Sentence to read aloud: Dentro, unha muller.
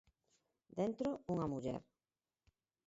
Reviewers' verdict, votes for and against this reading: accepted, 4, 2